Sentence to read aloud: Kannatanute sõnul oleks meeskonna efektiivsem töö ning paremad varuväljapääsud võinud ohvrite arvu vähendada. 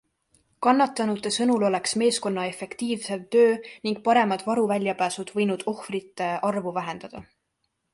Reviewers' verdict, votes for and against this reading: accepted, 2, 0